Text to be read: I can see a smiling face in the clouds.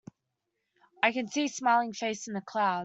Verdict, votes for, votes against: rejected, 0, 2